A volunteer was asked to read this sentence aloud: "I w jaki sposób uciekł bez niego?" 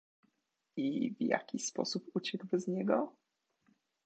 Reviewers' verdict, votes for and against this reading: accepted, 2, 0